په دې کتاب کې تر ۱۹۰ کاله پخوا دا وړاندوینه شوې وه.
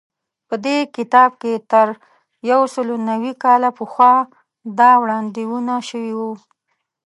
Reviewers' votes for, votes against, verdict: 0, 2, rejected